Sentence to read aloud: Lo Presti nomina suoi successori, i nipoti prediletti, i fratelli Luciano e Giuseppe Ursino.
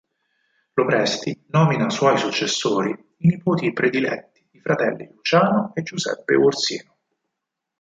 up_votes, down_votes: 2, 4